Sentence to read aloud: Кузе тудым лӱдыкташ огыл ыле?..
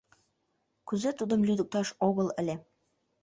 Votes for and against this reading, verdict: 2, 0, accepted